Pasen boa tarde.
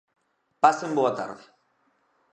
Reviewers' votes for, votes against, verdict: 2, 0, accepted